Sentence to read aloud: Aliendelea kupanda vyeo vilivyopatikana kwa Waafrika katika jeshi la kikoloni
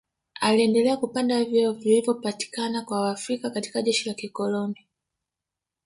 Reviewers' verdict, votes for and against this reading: rejected, 1, 2